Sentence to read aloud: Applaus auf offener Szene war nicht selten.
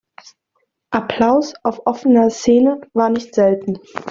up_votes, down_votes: 2, 0